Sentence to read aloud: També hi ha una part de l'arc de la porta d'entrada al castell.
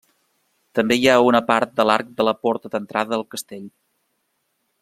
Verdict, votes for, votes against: accepted, 2, 0